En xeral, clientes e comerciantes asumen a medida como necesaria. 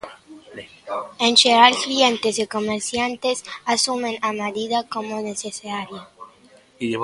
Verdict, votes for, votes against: rejected, 0, 2